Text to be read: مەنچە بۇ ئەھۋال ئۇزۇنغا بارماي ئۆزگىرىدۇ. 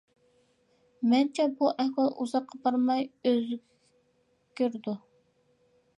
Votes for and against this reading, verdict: 0, 2, rejected